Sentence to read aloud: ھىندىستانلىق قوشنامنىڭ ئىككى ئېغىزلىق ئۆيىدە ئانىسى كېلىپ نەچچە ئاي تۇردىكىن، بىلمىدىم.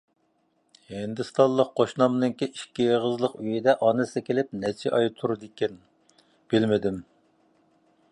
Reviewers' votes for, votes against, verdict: 1, 2, rejected